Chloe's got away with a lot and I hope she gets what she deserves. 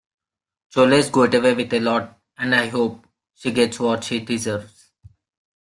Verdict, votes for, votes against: rejected, 1, 2